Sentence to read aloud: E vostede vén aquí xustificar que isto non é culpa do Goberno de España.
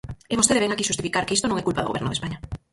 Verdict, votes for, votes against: rejected, 0, 4